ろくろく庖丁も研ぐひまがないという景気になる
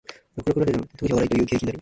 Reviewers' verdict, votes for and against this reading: rejected, 0, 2